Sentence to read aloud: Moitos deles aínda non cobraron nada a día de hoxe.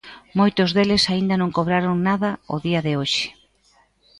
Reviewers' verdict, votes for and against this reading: accepted, 2, 1